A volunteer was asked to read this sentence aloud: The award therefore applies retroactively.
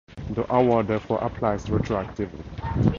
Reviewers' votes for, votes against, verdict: 2, 0, accepted